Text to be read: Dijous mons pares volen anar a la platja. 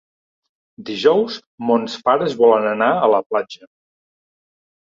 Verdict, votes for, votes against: accepted, 3, 0